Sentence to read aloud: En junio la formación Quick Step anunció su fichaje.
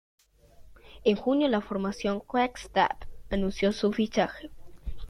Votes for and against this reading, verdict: 1, 2, rejected